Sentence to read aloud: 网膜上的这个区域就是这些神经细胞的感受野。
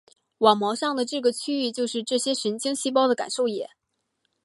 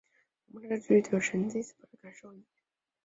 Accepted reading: first